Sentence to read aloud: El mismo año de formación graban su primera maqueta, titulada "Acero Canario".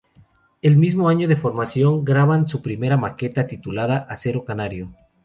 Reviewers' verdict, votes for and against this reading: rejected, 0, 2